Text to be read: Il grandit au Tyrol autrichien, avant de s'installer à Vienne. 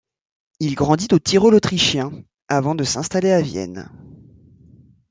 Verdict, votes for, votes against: accepted, 2, 0